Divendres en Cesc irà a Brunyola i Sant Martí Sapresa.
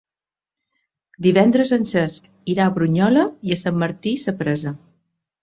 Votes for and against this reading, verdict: 1, 2, rejected